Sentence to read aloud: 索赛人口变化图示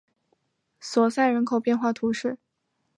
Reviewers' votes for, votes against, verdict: 2, 0, accepted